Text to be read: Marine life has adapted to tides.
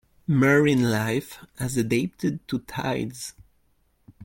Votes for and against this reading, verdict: 1, 2, rejected